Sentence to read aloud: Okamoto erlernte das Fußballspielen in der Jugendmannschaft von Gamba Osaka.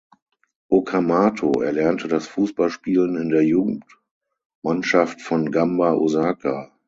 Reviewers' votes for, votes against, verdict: 0, 6, rejected